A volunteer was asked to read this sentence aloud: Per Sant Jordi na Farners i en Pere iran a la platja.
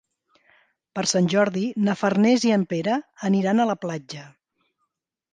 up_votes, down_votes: 1, 3